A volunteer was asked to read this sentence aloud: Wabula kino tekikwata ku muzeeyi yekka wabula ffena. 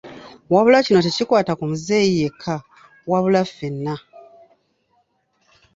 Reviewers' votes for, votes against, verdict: 2, 0, accepted